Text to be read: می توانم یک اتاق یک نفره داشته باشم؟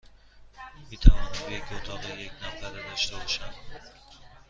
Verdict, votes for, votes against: accepted, 2, 0